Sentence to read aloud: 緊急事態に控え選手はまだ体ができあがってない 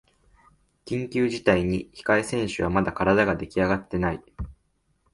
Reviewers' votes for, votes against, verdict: 2, 0, accepted